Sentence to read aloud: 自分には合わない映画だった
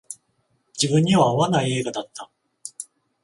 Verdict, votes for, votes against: rejected, 0, 14